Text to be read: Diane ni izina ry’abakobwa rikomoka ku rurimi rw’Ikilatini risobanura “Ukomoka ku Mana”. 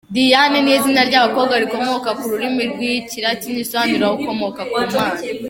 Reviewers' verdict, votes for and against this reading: accepted, 3, 0